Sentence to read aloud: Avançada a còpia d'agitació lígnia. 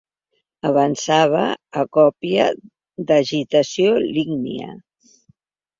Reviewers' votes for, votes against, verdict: 2, 0, accepted